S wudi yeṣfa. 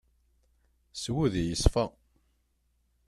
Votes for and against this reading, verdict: 2, 0, accepted